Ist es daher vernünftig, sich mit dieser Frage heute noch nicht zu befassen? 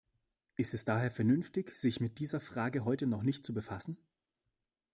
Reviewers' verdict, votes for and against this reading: accepted, 2, 0